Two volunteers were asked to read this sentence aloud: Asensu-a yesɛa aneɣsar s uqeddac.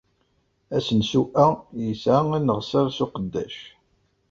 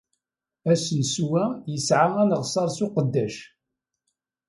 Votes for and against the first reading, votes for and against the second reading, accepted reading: 1, 2, 2, 0, second